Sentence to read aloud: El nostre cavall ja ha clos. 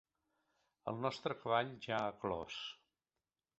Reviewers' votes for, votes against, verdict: 1, 2, rejected